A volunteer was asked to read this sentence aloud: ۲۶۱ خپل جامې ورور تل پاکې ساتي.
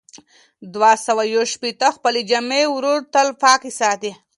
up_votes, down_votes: 0, 2